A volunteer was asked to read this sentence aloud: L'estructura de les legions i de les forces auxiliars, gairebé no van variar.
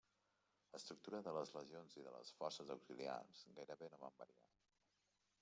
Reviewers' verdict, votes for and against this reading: rejected, 1, 2